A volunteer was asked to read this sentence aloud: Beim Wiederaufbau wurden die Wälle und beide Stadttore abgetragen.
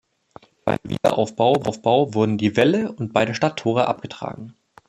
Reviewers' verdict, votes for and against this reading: rejected, 0, 2